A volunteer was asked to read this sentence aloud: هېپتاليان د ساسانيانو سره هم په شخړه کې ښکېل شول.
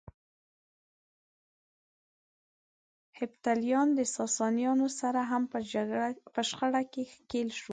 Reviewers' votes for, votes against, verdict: 0, 2, rejected